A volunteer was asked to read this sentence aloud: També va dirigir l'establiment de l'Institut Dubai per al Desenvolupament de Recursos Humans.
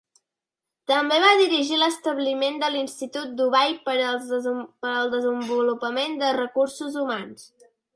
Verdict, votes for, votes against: rejected, 0, 2